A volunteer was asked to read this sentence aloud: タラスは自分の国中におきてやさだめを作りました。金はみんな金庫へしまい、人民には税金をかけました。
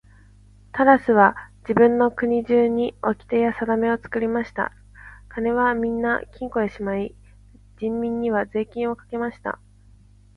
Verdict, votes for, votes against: accepted, 2, 0